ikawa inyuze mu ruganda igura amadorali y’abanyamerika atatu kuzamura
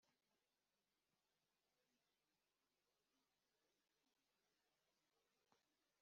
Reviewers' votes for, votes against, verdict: 0, 2, rejected